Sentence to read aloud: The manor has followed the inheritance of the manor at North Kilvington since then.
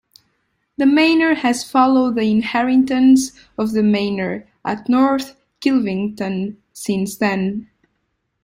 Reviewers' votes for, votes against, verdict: 1, 2, rejected